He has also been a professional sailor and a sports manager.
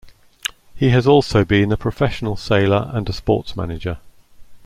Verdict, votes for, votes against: accepted, 2, 0